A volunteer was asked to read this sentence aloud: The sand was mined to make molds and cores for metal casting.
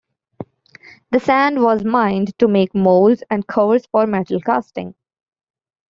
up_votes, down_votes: 2, 1